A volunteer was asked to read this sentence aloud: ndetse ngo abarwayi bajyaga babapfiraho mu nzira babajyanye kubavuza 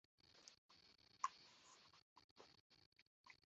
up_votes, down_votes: 0, 2